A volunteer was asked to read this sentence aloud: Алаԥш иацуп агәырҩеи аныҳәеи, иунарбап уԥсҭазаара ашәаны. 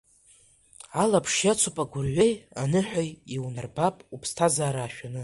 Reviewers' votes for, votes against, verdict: 2, 0, accepted